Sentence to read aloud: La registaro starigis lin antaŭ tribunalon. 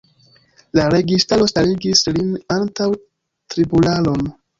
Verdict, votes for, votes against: accepted, 2, 0